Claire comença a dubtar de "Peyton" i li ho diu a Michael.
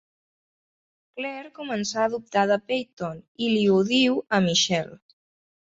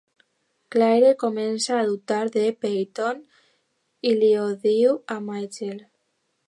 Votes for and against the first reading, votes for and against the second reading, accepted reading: 0, 2, 3, 1, second